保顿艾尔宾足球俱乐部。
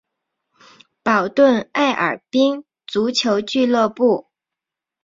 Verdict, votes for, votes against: accepted, 3, 0